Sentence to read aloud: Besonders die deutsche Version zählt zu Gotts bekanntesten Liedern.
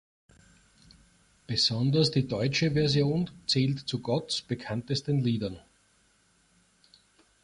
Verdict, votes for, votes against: accepted, 2, 1